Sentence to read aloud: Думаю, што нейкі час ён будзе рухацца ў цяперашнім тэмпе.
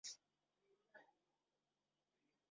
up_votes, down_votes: 0, 2